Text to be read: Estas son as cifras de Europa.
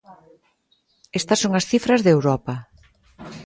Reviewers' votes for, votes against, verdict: 2, 0, accepted